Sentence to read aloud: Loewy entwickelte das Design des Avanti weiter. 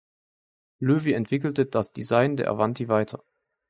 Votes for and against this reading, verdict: 0, 2, rejected